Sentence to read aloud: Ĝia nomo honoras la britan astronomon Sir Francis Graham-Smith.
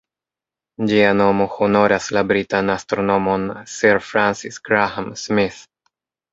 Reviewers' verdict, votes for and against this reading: accepted, 2, 0